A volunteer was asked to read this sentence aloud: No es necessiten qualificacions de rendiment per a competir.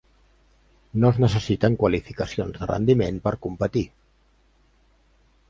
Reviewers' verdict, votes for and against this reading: rejected, 1, 2